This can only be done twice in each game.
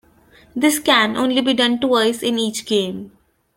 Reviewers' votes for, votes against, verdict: 2, 1, accepted